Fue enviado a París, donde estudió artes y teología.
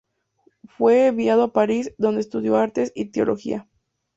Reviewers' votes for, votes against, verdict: 2, 0, accepted